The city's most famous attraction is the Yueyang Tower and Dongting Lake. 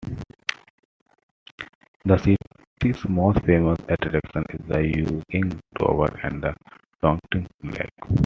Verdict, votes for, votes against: accepted, 2, 1